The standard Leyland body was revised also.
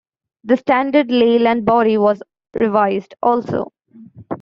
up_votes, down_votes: 2, 1